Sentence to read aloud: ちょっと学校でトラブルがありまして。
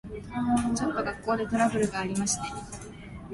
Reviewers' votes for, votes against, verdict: 2, 1, accepted